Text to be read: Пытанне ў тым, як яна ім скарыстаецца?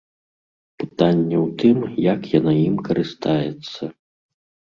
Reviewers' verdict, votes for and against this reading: rejected, 1, 2